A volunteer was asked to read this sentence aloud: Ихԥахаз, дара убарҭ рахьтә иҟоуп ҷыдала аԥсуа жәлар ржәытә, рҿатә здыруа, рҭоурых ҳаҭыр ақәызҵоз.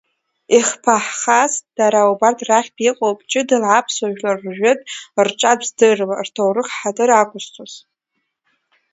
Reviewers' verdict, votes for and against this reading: accepted, 2, 0